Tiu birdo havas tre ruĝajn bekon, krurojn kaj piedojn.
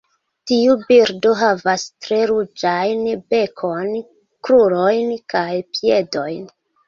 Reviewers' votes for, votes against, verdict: 2, 0, accepted